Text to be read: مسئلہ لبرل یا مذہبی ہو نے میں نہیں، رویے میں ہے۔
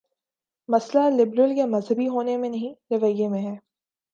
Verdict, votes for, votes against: accepted, 2, 0